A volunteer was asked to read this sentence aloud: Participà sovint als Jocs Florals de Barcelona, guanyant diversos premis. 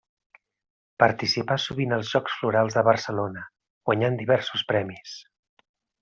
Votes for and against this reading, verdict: 3, 0, accepted